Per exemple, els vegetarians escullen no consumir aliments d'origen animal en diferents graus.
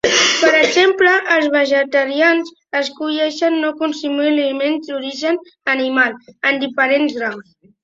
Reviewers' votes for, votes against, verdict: 0, 2, rejected